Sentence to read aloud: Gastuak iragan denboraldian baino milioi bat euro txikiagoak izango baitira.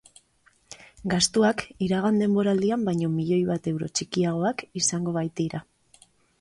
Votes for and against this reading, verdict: 6, 0, accepted